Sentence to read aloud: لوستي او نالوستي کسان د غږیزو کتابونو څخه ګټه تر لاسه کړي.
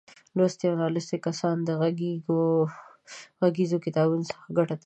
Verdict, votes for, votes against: rejected, 1, 2